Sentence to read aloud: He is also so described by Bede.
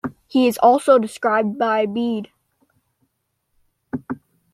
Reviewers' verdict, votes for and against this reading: rejected, 0, 2